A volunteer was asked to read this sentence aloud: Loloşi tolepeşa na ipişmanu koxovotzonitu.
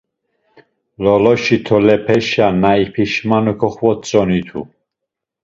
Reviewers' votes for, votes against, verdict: 1, 2, rejected